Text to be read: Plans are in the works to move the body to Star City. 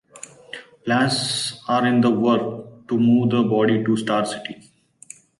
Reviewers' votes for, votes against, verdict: 1, 2, rejected